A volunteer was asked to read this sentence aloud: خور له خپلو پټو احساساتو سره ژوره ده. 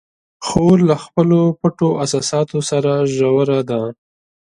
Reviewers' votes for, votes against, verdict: 1, 2, rejected